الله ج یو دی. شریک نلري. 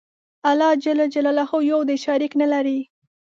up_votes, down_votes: 2, 0